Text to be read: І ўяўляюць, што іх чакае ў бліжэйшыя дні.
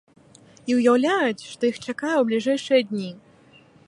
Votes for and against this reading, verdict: 3, 0, accepted